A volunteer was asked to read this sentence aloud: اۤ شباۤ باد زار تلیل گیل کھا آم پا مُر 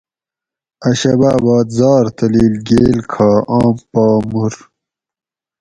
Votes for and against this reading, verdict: 4, 0, accepted